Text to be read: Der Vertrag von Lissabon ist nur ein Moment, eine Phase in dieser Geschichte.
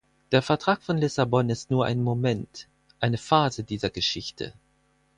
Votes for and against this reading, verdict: 2, 2, rejected